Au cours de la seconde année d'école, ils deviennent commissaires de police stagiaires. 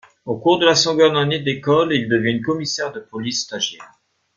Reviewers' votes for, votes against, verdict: 2, 0, accepted